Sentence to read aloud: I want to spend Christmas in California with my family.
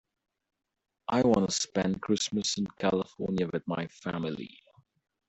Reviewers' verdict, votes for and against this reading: rejected, 1, 2